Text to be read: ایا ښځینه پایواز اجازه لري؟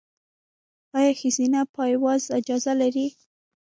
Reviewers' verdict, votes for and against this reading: rejected, 1, 2